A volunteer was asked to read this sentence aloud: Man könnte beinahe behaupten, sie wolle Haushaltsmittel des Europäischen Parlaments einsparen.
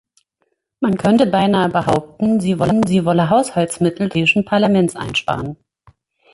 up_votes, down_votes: 1, 2